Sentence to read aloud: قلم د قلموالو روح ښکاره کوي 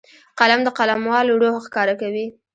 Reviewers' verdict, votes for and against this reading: rejected, 0, 2